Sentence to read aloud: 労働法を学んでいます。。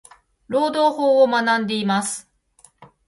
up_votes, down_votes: 1, 2